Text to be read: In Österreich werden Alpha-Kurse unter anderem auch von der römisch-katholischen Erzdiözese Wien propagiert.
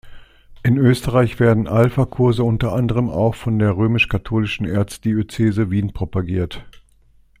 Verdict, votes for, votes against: accepted, 2, 0